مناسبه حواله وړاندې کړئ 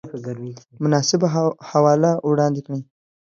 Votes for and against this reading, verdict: 2, 1, accepted